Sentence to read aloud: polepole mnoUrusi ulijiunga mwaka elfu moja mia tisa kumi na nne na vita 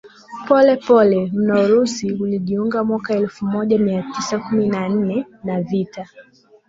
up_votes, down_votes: 2, 0